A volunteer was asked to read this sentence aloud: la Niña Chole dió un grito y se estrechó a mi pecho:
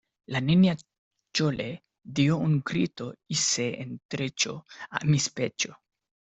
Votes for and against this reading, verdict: 0, 2, rejected